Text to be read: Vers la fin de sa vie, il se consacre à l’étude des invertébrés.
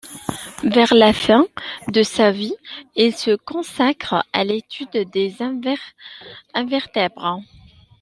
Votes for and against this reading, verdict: 0, 2, rejected